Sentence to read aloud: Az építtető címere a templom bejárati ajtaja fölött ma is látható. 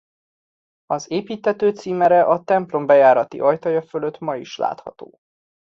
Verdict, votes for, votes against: accepted, 2, 0